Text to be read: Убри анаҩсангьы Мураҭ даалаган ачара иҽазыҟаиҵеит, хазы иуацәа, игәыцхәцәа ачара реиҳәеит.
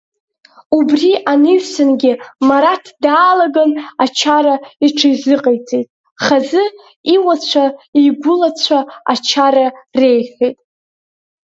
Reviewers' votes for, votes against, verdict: 2, 0, accepted